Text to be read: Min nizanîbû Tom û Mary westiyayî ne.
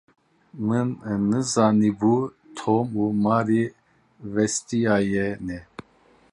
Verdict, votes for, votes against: rejected, 0, 2